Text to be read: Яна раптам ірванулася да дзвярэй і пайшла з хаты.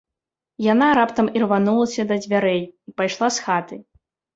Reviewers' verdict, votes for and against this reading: rejected, 0, 2